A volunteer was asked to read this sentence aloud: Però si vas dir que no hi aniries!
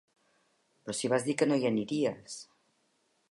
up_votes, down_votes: 3, 0